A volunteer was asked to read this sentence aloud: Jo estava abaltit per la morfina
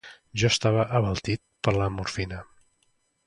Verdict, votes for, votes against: accepted, 2, 0